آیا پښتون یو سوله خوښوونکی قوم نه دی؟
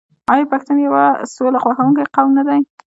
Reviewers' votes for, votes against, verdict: 1, 2, rejected